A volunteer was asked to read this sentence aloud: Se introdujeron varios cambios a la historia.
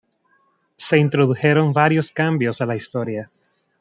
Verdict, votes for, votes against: rejected, 1, 2